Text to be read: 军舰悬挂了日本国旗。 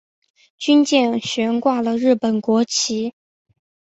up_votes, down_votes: 3, 0